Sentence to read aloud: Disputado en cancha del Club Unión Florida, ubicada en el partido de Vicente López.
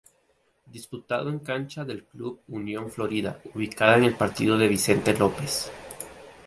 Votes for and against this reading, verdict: 2, 0, accepted